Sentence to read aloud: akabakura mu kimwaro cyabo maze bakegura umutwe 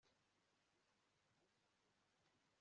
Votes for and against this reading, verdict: 1, 2, rejected